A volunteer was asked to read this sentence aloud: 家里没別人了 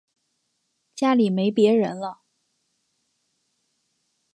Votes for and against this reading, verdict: 2, 1, accepted